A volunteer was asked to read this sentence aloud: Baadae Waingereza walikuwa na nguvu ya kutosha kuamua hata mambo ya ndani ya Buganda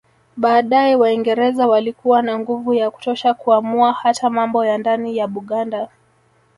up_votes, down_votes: 1, 2